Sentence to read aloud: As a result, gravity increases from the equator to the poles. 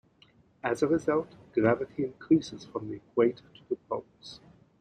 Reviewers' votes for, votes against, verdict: 2, 0, accepted